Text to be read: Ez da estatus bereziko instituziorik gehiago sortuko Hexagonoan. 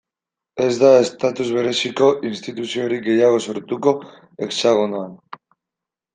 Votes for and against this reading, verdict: 2, 0, accepted